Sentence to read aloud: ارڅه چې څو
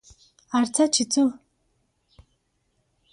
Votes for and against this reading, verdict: 3, 0, accepted